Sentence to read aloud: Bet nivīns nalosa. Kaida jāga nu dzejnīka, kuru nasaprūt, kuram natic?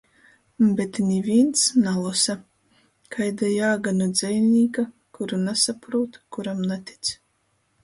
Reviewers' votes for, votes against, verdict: 2, 0, accepted